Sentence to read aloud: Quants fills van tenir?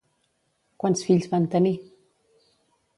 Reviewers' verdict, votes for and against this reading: accepted, 2, 0